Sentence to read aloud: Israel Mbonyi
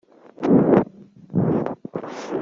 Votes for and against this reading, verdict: 0, 2, rejected